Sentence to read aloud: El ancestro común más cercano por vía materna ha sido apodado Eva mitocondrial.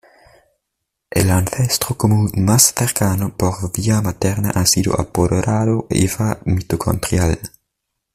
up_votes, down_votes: 1, 2